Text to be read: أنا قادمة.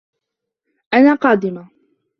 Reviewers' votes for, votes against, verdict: 2, 0, accepted